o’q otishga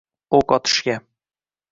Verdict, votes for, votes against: accepted, 2, 0